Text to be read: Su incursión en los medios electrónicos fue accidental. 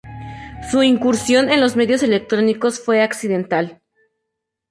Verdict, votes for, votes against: accepted, 2, 0